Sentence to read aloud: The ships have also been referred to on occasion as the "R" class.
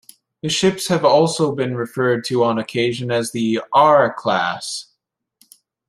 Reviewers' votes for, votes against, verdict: 0, 2, rejected